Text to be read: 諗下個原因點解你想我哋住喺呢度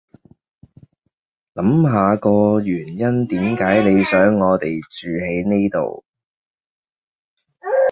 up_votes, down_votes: 1, 2